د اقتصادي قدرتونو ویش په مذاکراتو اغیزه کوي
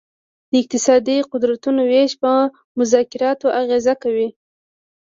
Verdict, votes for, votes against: accepted, 2, 0